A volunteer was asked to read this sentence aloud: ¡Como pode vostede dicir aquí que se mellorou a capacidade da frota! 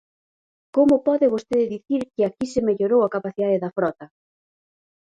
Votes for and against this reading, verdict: 0, 4, rejected